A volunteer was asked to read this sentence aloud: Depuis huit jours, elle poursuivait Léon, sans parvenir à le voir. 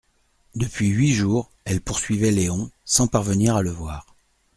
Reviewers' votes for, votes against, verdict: 2, 0, accepted